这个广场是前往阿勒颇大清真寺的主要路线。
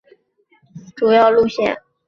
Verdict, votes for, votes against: accepted, 2, 0